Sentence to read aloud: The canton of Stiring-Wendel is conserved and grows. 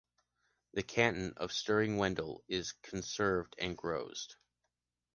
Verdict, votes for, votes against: accepted, 2, 0